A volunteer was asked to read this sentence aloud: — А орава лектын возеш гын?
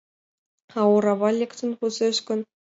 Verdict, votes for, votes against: accepted, 2, 0